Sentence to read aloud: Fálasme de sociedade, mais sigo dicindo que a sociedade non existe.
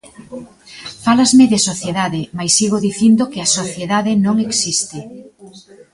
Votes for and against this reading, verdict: 2, 0, accepted